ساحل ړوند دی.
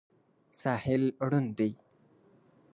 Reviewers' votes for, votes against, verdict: 3, 0, accepted